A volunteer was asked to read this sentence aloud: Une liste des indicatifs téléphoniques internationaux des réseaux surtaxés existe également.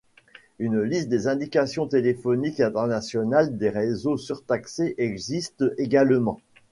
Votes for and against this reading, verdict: 0, 2, rejected